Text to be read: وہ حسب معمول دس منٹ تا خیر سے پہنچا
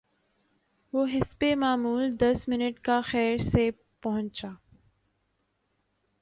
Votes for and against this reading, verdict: 1, 2, rejected